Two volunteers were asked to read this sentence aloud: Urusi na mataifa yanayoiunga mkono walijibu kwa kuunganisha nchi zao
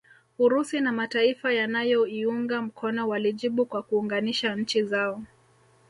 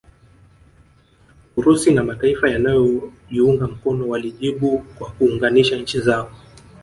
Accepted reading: first